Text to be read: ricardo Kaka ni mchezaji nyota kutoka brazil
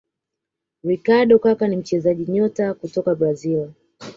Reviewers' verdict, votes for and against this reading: accepted, 2, 1